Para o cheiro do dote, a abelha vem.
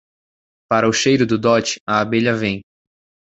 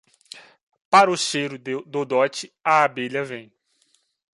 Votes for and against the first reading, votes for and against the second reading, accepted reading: 2, 0, 0, 2, first